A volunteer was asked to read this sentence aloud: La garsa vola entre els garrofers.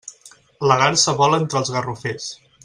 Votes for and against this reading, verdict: 2, 0, accepted